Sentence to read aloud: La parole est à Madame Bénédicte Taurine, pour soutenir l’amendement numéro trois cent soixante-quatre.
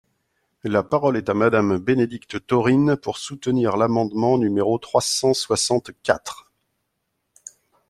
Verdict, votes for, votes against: accepted, 2, 0